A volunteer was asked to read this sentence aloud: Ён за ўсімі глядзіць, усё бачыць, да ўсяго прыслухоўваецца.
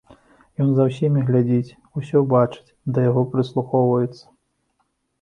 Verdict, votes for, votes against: rejected, 0, 2